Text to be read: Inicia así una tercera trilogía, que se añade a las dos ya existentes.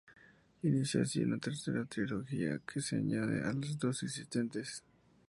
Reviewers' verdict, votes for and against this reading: rejected, 0, 2